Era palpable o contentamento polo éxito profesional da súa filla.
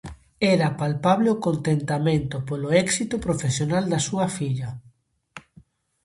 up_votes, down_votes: 2, 0